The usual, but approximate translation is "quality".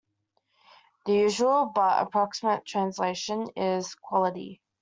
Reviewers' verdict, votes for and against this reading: accepted, 2, 0